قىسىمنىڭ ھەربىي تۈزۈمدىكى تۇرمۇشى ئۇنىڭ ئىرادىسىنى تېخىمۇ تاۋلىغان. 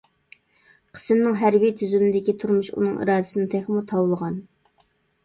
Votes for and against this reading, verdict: 1, 2, rejected